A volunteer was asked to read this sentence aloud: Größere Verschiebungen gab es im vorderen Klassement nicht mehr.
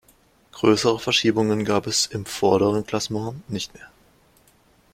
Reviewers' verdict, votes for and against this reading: accepted, 2, 0